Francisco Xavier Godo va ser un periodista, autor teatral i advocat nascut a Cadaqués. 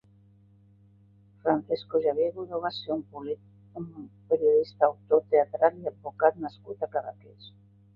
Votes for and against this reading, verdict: 0, 3, rejected